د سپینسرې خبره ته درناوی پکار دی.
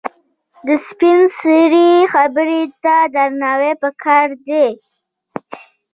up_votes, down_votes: 2, 1